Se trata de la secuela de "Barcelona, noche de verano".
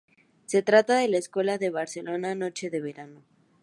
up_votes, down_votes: 2, 0